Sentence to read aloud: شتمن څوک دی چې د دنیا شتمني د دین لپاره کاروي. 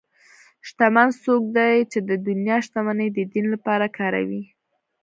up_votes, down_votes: 2, 0